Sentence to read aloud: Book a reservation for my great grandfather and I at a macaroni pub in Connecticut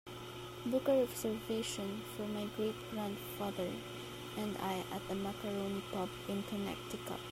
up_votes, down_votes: 2, 1